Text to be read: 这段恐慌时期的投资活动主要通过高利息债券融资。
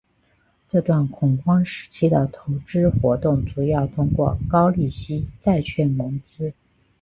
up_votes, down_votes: 3, 1